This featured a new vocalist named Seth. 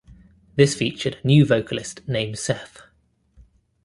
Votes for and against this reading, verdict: 1, 2, rejected